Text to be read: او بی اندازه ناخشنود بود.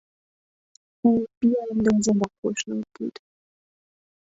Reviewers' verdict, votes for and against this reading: rejected, 1, 2